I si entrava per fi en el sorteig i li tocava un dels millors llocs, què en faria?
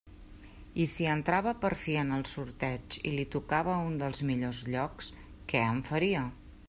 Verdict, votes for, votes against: accepted, 3, 0